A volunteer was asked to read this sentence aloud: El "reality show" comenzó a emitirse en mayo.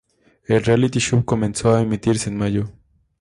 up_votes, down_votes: 2, 0